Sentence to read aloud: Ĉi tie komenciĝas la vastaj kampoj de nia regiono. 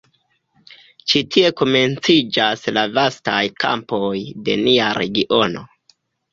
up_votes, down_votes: 2, 1